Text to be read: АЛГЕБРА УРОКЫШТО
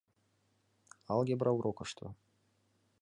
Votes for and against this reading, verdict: 3, 0, accepted